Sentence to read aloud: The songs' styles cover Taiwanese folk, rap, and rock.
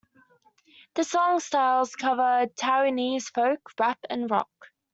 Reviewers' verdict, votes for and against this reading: accepted, 2, 0